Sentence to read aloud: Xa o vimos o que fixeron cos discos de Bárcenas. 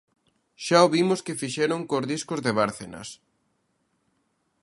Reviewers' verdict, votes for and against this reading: rejected, 1, 2